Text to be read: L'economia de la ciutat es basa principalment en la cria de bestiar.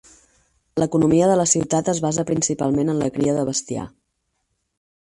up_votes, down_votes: 8, 0